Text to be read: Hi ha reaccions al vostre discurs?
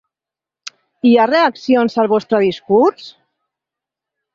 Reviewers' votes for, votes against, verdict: 2, 0, accepted